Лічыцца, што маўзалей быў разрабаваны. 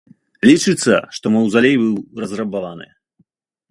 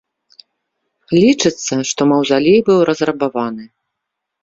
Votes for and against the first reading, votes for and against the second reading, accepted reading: 1, 2, 2, 0, second